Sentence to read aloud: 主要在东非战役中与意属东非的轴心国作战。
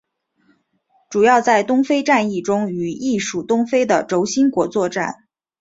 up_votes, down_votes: 3, 0